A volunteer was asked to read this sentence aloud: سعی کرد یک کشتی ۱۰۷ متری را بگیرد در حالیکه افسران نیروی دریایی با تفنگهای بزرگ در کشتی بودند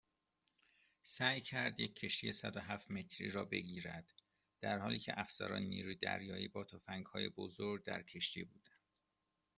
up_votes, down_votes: 0, 2